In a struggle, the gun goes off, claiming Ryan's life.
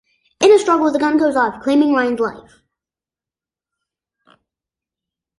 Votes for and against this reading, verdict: 1, 2, rejected